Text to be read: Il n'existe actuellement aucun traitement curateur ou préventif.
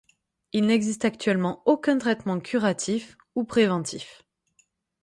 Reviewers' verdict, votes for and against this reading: rejected, 3, 6